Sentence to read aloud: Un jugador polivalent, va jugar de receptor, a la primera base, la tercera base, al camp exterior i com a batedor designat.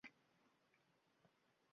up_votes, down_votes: 0, 2